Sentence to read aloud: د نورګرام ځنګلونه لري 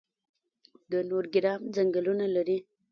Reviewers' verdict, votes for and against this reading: rejected, 1, 2